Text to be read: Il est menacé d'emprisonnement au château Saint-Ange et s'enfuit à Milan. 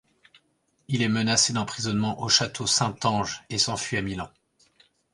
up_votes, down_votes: 2, 0